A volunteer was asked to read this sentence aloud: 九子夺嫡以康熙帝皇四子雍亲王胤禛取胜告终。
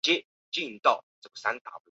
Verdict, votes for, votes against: rejected, 0, 7